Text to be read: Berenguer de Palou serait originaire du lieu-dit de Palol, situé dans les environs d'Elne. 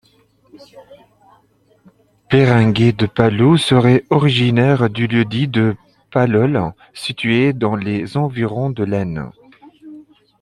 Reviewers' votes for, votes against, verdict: 1, 2, rejected